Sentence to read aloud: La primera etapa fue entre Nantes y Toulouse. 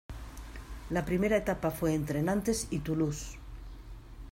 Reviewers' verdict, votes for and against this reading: accepted, 2, 0